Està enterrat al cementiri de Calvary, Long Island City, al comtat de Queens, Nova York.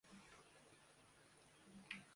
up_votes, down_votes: 0, 2